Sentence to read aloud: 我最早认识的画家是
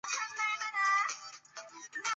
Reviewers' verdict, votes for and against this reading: rejected, 2, 3